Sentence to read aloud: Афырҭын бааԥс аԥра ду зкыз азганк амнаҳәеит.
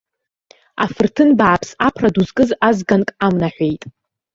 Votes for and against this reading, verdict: 3, 2, accepted